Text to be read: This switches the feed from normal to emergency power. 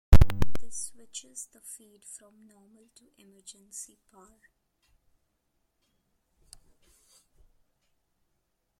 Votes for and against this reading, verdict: 2, 1, accepted